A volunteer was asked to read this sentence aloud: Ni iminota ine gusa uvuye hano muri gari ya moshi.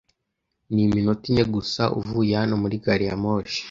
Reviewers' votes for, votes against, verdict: 2, 1, accepted